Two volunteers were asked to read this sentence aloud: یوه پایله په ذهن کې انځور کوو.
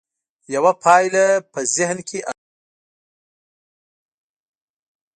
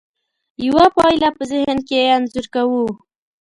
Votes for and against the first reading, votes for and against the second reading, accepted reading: 1, 2, 2, 0, second